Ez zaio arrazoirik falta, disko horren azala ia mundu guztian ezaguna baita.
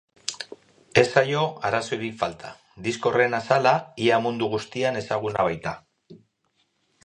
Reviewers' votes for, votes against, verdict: 0, 2, rejected